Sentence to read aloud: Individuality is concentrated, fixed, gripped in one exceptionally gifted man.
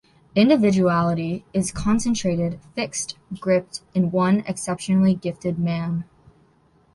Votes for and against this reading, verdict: 2, 0, accepted